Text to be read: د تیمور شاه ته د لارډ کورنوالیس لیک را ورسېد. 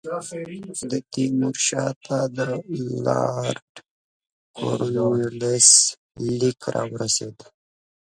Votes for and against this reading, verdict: 2, 3, rejected